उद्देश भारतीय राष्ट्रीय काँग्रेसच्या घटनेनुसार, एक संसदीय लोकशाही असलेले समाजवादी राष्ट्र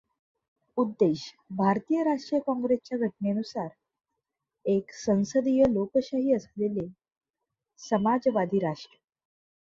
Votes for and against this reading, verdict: 2, 0, accepted